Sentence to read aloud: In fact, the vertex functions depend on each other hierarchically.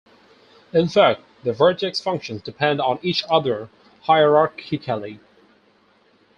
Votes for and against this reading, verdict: 0, 2, rejected